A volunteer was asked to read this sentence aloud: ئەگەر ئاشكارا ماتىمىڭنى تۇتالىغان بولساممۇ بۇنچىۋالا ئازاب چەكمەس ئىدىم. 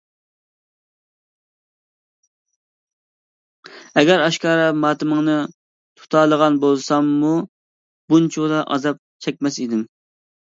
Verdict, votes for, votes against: accepted, 2, 0